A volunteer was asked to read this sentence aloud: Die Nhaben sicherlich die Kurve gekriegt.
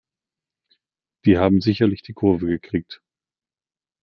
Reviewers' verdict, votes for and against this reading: rejected, 1, 2